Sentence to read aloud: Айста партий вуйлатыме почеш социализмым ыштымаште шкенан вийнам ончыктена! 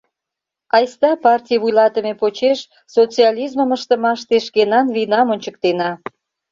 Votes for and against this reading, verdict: 2, 0, accepted